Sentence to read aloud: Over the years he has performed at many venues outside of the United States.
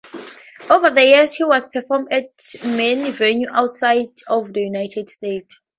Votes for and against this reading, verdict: 0, 2, rejected